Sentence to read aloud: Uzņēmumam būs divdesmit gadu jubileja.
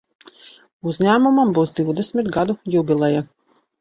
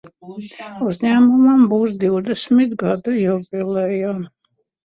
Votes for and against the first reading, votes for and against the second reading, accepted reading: 2, 0, 0, 2, first